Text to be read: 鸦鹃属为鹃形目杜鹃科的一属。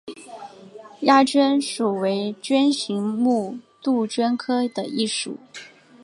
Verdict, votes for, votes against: accepted, 3, 0